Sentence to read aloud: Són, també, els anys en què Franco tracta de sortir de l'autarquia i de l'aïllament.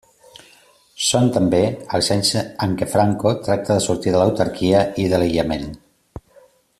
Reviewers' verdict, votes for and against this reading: accepted, 2, 0